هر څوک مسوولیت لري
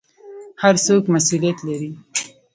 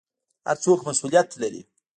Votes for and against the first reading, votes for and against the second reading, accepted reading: 2, 0, 1, 2, first